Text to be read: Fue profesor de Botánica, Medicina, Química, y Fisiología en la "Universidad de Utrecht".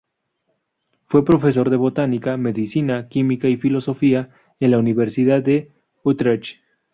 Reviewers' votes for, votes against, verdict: 0, 2, rejected